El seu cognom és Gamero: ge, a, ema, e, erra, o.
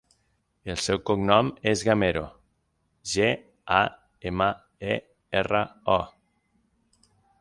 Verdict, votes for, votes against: accepted, 6, 0